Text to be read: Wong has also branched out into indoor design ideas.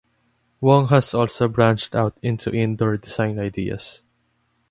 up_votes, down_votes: 2, 0